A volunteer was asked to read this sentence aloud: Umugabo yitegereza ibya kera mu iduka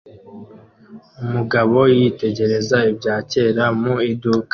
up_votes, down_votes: 2, 0